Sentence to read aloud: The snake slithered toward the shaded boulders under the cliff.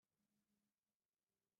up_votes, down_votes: 0, 2